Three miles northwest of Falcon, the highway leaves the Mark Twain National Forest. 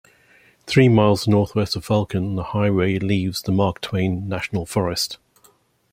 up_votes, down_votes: 1, 2